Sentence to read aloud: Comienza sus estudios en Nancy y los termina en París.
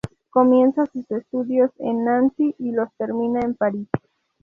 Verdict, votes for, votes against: rejected, 2, 2